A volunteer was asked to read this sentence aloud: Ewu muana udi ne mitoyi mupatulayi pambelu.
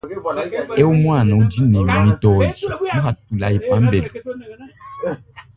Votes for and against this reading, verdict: 1, 3, rejected